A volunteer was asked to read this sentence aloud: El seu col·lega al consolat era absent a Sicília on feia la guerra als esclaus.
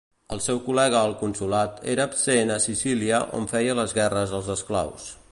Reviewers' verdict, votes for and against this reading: rejected, 1, 2